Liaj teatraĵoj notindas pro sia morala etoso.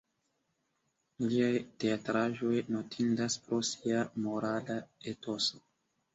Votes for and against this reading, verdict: 0, 2, rejected